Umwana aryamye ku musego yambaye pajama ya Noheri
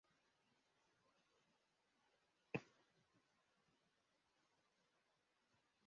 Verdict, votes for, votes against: rejected, 0, 2